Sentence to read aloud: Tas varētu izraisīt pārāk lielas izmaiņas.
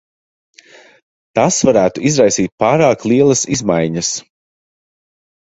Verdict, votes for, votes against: accepted, 2, 0